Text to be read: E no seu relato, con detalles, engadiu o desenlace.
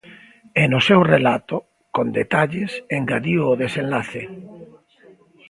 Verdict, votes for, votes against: rejected, 1, 2